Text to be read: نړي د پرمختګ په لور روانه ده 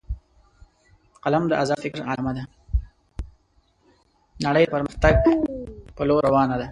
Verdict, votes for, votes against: rejected, 1, 2